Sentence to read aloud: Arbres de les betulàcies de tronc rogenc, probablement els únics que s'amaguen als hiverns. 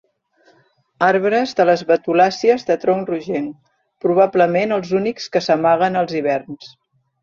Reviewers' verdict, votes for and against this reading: accepted, 2, 0